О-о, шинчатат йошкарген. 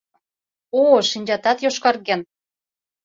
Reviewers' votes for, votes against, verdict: 2, 0, accepted